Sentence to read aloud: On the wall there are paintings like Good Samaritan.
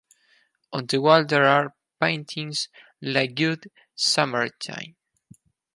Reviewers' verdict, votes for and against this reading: rejected, 0, 4